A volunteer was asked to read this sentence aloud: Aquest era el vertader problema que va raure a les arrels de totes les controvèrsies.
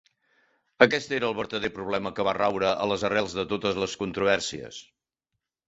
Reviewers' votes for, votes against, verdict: 3, 0, accepted